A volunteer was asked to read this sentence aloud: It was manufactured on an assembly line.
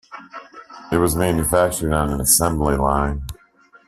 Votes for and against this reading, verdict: 2, 0, accepted